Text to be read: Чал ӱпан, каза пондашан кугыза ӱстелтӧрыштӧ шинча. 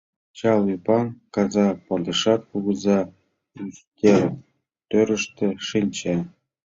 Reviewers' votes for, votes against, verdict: 1, 2, rejected